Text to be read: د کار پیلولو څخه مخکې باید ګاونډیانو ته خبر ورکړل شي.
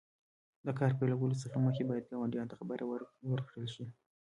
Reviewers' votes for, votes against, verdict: 3, 0, accepted